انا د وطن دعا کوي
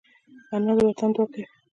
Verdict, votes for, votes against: rejected, 1, 2